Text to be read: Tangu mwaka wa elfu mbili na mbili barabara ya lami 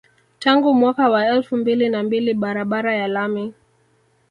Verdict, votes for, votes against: rejected, 1, 2